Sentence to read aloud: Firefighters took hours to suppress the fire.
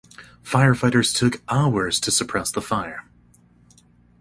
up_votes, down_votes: 2, 0